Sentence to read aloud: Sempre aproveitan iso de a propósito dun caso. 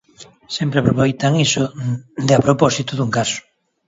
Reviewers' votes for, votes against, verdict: 1, 2, rejected